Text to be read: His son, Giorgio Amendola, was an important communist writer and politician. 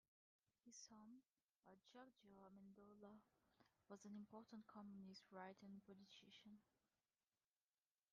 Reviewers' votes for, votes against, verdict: 0, 2, rejected